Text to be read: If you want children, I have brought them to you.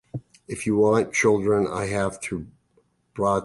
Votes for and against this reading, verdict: 0, 2, rejected